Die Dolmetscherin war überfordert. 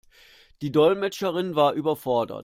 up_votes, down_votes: 2, 0